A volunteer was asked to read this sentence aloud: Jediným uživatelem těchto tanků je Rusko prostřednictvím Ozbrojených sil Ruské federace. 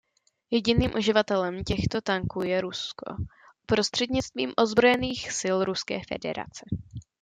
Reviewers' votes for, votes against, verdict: 2, 0, accepted